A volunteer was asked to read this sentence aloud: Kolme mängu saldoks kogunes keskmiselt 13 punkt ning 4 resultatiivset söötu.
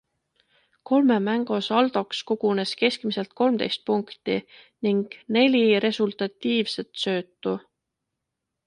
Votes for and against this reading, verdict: 0, 2, rejected